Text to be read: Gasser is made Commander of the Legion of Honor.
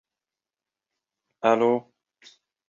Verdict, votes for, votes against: rejected, 0, 2